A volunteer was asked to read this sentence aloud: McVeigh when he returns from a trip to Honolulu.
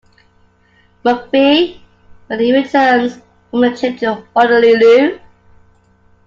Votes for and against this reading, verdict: 2, 0, accepted